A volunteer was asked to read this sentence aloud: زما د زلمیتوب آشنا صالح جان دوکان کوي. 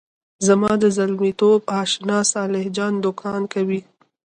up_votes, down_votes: 2, 1